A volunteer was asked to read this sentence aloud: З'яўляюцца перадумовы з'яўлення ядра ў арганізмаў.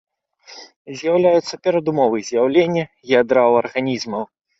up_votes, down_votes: 3, 0